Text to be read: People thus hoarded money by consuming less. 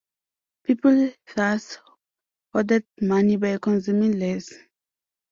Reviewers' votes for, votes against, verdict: 2, 0, accepted